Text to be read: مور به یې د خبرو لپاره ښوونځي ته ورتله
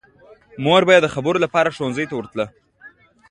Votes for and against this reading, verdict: 2, 1, accepted